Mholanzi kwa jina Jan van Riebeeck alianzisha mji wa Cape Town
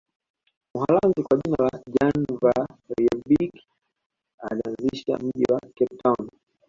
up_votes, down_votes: 1, 2